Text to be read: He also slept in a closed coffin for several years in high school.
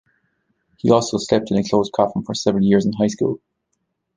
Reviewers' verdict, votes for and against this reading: rejected, 1, 2